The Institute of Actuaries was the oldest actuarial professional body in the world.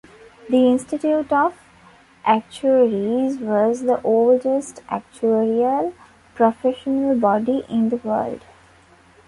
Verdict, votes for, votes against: accepted, 2, 0